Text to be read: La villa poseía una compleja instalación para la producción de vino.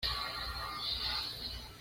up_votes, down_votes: 1, 2